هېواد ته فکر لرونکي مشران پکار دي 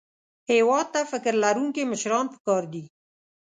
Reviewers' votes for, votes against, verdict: 2, 0, accepted